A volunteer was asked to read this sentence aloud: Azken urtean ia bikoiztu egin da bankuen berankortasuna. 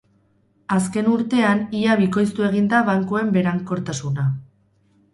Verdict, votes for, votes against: rejected, 2, 2